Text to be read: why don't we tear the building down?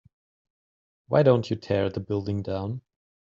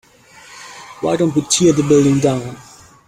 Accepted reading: second